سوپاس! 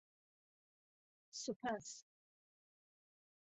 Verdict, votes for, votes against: accepted, 2, 0